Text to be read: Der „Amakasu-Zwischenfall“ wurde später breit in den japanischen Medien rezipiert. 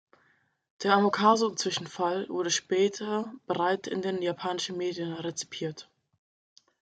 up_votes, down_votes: 2, 0